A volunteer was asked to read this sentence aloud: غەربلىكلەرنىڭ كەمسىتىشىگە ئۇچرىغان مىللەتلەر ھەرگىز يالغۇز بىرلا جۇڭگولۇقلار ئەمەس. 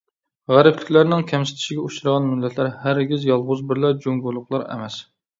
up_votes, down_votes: 2, 0